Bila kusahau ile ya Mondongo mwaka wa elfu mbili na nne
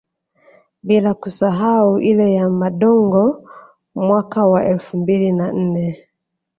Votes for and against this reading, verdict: 0, 2, rejected